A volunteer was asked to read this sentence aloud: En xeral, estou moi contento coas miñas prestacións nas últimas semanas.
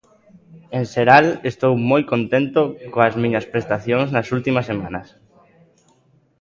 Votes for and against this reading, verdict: 2, 1, accepted